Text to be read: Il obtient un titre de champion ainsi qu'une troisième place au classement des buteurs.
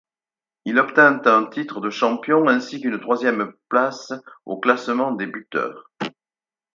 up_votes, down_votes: 2, 4